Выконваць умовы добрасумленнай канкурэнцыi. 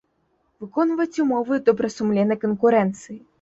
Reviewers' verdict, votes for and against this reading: accepted, 2, 0